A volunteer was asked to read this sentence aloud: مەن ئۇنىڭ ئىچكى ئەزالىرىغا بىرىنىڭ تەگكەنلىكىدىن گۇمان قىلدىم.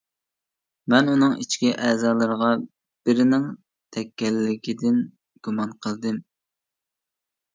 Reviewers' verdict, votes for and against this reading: accepted, 2, 0